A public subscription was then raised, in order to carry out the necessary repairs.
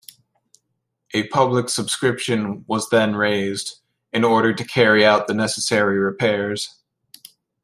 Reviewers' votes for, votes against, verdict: 1, 2, rejected